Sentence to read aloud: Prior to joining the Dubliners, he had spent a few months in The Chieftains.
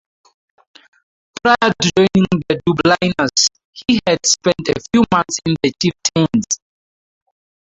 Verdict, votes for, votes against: rejected, 0, 2